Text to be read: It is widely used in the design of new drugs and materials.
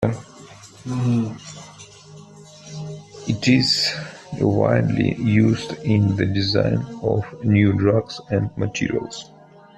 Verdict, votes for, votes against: accepted, 2, 1